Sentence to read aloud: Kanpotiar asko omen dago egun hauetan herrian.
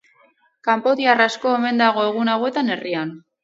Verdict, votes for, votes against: accepted, 4, 0